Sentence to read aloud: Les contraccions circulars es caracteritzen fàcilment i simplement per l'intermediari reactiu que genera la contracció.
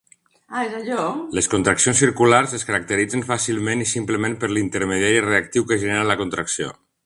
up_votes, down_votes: 0, 2